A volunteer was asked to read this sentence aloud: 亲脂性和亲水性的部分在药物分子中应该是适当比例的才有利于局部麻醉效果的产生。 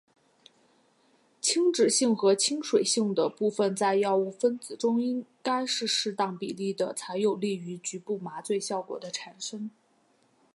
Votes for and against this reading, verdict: 2, 0, accepted